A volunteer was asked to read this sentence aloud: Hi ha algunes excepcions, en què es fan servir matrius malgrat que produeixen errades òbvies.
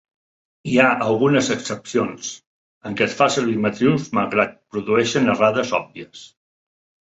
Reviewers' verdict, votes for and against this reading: rejected, 0, 2